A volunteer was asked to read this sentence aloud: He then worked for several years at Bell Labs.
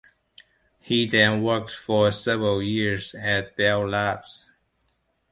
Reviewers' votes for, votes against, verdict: 2, 0, accepted